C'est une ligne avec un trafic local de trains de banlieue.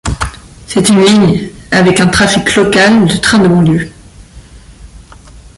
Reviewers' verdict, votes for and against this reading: accepted, 2, 0